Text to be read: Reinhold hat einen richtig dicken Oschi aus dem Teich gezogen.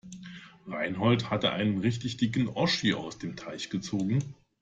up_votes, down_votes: 2, 0